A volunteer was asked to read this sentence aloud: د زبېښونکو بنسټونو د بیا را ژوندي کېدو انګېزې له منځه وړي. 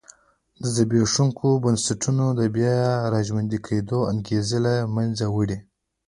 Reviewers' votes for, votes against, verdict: 0, 2, rejected